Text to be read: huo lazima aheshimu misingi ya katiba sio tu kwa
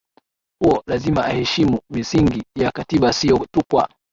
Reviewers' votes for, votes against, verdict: 8, 4, accepted